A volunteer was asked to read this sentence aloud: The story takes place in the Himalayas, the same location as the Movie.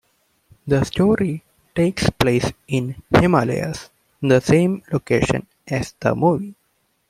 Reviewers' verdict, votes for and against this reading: rejected, 1, 2